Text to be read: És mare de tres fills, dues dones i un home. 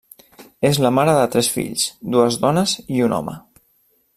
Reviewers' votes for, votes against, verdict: 0, 2, rejected